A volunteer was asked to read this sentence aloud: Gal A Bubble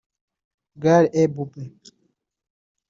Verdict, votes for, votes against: rejected, 1, 2